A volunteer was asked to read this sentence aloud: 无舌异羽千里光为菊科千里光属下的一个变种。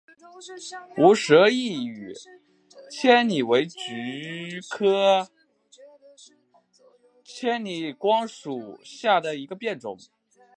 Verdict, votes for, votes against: rejected, 2, 2